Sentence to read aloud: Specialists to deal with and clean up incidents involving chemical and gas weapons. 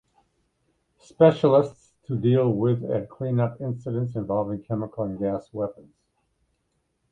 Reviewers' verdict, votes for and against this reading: accepted, 2, 0